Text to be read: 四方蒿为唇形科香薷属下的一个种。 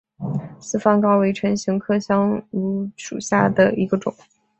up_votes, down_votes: 3, 0